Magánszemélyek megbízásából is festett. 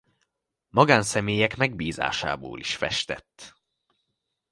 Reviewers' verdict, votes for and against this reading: accepted, 2, 0